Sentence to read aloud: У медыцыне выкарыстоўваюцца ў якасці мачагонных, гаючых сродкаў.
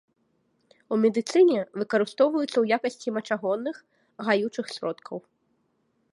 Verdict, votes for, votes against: accepted, 2, 0